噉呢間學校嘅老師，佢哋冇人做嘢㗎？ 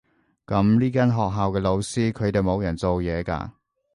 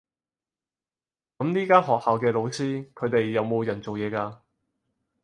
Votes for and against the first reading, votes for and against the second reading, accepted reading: 2, 0, 0, 4, first